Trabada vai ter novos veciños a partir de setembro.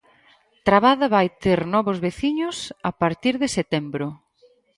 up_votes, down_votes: 0, 4